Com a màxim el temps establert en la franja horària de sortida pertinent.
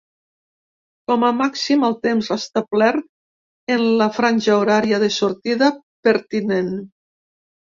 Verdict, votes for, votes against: accepted, 2, 0